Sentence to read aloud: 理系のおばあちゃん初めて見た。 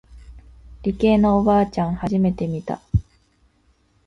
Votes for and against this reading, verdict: 2, 0, accepted